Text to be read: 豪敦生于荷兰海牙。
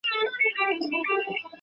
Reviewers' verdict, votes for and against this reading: rejected, 2, 6